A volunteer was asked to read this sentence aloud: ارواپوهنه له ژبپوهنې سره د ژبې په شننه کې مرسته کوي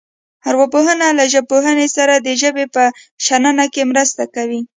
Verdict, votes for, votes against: accepted, 2, 0